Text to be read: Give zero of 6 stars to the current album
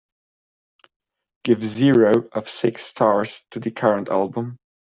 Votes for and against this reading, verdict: 0, 2, rejected